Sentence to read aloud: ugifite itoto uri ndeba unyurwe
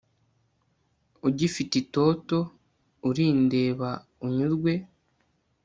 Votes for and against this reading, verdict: 2, 0, accepted